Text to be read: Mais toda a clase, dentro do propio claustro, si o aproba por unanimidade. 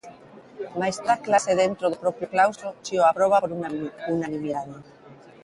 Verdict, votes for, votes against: rejected, 0, 2